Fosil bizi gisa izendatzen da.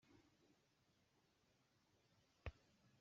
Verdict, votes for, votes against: rejected, 0, 2